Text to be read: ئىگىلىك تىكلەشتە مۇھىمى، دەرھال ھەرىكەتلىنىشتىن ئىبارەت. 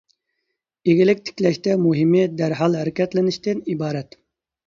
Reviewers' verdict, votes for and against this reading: accepted, 2, 0